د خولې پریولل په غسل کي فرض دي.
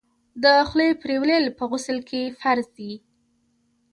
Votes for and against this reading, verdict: 1, 2, rejected